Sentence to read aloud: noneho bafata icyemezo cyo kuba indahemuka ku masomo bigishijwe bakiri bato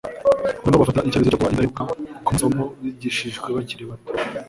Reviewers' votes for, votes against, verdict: 1, 2, rejected